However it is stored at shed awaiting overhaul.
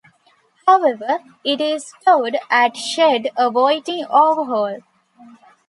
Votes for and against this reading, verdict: 1, 2, rejected